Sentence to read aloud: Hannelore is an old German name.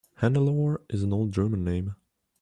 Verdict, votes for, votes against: accepted, 2, 0